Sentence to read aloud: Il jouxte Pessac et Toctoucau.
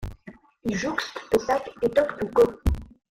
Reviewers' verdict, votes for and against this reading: rejected, 0, 2